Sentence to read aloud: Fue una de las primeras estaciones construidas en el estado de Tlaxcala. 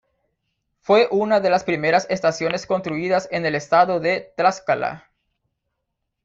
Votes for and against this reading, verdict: 1, 2, rejected